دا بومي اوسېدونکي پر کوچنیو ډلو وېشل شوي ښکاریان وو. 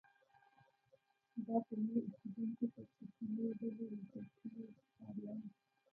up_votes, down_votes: 1, 2